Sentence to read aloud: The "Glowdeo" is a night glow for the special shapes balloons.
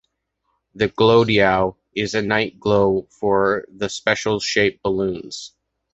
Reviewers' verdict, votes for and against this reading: accepted, 3, 1